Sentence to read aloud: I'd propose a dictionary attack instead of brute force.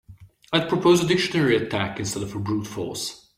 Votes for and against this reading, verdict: 2, 1, accepted